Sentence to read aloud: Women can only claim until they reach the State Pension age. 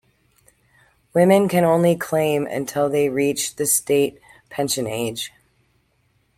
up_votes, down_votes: 2, 0